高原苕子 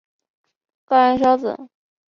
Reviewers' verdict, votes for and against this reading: rejected, 1, 3